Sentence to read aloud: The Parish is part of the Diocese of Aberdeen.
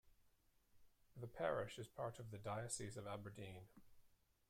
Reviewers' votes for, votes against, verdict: 2, 0, accepted